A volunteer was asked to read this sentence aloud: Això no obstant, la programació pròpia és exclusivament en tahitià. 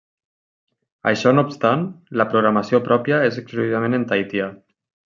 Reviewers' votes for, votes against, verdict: 0, 2, rejected